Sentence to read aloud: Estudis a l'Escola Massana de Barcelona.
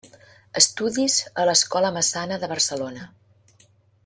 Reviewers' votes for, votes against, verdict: 0, 2, rejected